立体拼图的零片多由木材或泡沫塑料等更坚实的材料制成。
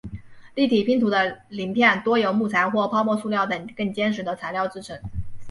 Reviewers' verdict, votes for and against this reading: accepted, 2, 0